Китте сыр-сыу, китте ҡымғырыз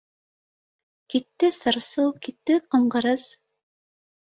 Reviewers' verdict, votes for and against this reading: accepted, 2, 0